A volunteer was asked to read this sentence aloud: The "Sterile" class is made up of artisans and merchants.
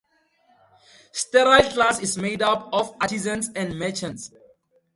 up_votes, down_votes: 0, 2